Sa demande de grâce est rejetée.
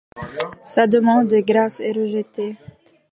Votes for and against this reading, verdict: 2, 0, accepted